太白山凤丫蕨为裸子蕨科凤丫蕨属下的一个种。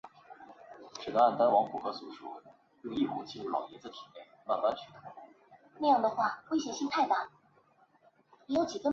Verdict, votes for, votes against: rejected, 0, 3